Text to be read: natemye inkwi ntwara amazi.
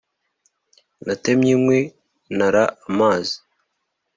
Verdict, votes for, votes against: rejected, 1, 2